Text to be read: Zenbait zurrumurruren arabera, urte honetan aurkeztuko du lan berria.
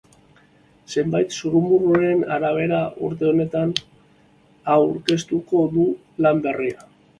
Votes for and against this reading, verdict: 2, 0, accepted